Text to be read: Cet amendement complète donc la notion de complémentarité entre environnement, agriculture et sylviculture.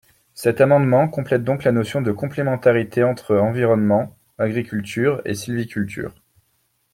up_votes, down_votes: 2, 0